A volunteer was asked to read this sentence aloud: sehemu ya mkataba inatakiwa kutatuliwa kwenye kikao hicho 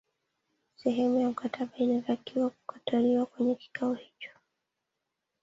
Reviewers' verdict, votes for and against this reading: rejected, 1, 2